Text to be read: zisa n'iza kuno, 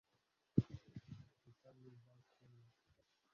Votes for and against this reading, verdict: 1, 2, rejected